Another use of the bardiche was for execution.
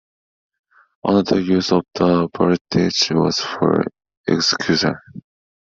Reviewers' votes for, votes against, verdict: 1, 2, rejected